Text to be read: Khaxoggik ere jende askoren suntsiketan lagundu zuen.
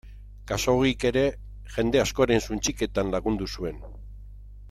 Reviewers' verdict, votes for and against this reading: accepted, 2, 0